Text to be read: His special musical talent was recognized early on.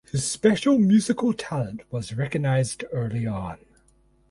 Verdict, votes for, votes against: accepted, 4, 0